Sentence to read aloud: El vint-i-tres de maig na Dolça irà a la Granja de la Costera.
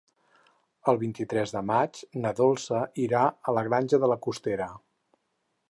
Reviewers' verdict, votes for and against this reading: accepted, 8, 0